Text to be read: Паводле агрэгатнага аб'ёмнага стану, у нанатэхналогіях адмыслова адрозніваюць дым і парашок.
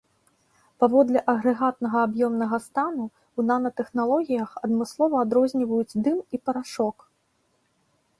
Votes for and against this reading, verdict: 4, 0, accepted